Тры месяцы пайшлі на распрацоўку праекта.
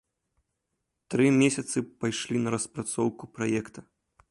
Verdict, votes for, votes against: accepted, 2, 0